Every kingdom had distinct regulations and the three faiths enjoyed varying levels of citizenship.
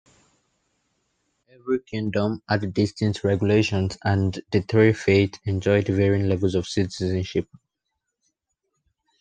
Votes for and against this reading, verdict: 0, 2, rejected